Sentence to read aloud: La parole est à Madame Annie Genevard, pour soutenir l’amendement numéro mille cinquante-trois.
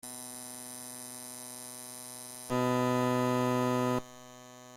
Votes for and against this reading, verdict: 0, 2, rejected